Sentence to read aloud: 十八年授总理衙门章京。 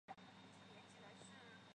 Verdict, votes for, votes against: rejected, 0, 3